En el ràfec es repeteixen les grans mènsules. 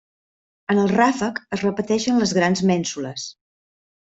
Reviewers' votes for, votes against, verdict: 3, 0, accepted